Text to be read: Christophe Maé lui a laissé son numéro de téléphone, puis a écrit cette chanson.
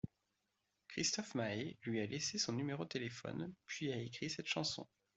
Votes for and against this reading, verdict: 2, 0, accepted